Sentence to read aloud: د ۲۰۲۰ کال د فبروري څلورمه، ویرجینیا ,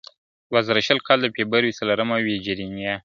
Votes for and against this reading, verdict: 0, 2, rejected